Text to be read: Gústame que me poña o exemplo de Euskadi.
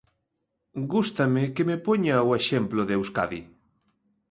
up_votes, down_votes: 2, 0